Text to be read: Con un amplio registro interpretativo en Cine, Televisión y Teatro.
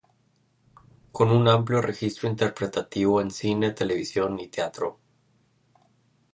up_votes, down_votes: 2, 0